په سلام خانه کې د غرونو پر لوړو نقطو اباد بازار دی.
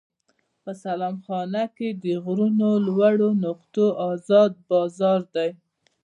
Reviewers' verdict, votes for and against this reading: rejected, 1, 2